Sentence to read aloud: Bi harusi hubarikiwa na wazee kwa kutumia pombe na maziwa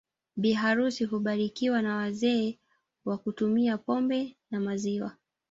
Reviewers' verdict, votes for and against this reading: rejected, 1, 2